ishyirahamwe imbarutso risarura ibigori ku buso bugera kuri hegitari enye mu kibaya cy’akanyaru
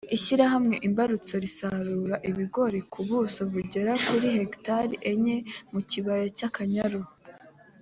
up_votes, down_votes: 2, 0